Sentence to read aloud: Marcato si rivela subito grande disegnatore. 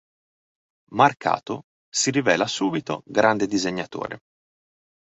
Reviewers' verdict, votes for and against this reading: accepted, 2, 0